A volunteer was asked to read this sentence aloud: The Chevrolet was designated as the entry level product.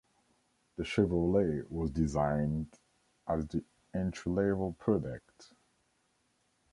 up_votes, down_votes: 1, 2